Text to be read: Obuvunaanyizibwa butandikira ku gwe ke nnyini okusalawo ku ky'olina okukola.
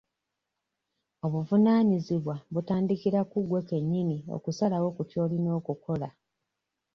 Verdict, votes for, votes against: rejected, 1, 2